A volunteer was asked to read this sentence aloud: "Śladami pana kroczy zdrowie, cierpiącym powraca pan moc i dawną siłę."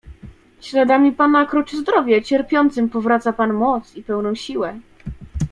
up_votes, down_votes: 1, 2